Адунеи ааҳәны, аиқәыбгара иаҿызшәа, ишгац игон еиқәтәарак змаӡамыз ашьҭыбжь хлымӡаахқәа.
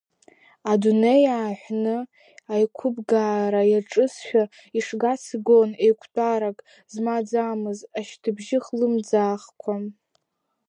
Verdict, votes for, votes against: rejected, 0, 2